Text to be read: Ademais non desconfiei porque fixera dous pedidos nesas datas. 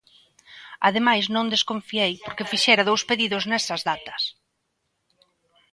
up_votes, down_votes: 2, 0